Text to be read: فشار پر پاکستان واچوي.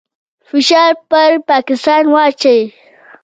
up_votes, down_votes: 1, 2